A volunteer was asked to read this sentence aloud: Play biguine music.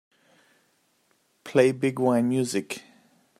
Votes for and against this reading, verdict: 2, 0, accepted